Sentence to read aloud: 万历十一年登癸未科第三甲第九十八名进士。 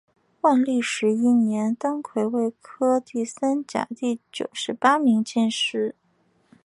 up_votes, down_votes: 4, 1